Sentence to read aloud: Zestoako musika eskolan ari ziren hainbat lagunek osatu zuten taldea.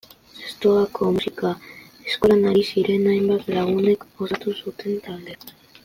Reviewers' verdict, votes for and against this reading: accepted, 2, 1